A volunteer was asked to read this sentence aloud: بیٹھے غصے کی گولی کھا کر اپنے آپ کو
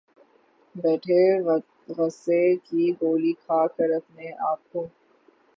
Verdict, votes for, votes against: rejected, 3, 6